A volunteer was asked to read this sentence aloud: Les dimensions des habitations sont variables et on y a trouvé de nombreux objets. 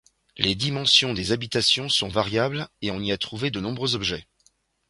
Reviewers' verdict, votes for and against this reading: accepted, 2, 0